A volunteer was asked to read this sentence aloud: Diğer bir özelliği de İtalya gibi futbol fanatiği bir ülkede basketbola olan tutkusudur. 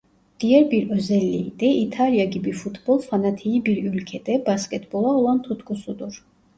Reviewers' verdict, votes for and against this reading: rejected, 1, 2